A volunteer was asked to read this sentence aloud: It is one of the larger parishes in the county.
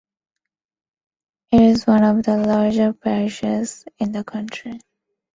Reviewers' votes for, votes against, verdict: 1, 2, rejected